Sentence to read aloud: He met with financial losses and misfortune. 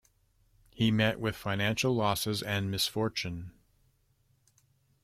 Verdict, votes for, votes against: accepted, 2, 0